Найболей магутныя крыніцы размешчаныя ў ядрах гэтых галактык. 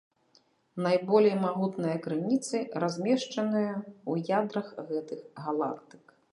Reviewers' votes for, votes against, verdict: 1, 2, rejected